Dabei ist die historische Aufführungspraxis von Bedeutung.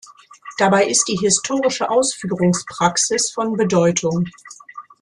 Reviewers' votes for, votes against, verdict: 1, 2, rejected